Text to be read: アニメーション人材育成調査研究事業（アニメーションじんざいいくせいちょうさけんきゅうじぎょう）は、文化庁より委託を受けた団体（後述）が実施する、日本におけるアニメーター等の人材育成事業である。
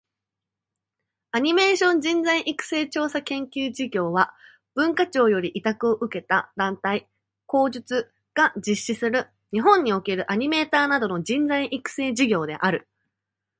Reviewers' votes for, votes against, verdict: 2, 0, accepted